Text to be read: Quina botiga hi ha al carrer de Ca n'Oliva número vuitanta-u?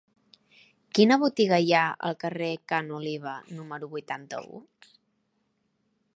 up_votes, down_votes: 2, 3